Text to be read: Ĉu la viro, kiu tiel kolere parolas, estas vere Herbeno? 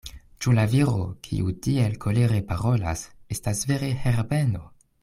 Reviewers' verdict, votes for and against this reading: accepted, 2, 0